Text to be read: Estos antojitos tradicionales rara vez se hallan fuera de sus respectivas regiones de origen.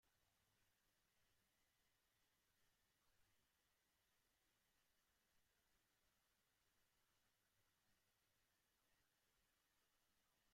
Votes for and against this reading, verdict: 0, 2, rejected